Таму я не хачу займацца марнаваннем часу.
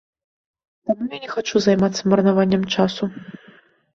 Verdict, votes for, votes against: rejected, 1, 2